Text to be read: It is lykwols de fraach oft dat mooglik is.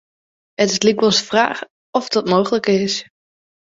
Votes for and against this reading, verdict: 1, 2, rejected